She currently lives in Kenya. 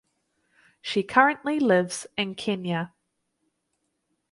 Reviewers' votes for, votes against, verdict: 4, 0, accepted